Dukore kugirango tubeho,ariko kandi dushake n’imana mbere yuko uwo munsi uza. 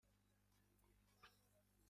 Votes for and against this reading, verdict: 0, 2, rejected